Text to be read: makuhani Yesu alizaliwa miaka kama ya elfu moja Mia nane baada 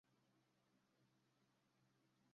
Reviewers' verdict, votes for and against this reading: rejected, 0, 2